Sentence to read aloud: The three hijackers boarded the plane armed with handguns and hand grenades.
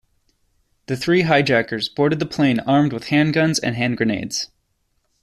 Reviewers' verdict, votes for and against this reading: accepted, 2, 0